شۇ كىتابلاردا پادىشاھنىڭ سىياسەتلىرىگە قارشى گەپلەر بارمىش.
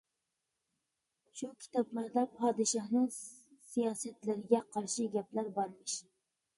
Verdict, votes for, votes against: rejected, 1, 2